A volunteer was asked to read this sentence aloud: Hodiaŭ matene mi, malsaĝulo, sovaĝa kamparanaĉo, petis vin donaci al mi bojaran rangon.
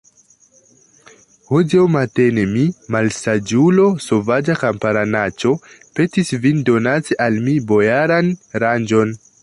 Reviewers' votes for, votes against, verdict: 1, 2, rejected